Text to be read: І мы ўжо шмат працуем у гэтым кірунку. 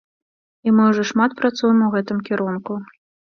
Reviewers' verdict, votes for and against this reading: accepted, 2, 0